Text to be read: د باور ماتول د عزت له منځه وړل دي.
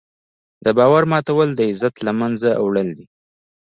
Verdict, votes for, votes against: rejected, 0, 2